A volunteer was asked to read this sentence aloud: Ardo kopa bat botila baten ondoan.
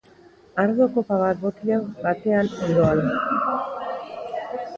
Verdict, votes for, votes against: rejected, 0, 3